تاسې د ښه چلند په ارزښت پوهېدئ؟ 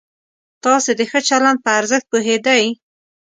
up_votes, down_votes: 2, 1